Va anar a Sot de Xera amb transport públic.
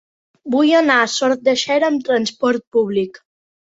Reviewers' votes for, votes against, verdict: 1, 2, rejected